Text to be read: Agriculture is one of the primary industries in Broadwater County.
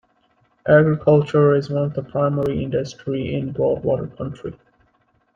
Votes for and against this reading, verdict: 0, 2, rejected